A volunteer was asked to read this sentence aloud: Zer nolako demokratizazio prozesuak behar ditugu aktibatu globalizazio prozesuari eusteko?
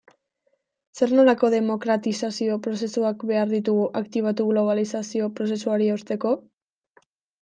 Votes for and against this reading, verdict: 2, 0, accepted